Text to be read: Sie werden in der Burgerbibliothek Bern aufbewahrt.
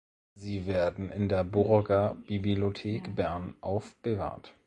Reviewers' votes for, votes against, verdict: 0, 2, rejected